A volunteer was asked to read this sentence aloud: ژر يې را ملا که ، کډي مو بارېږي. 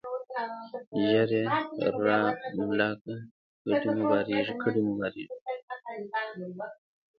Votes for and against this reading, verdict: 1, 2, rejected